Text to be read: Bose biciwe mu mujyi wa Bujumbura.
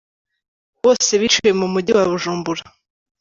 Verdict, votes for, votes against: accepted, 2, 0